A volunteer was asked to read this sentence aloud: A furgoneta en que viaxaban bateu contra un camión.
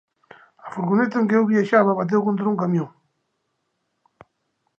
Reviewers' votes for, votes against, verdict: 2, 1, accepted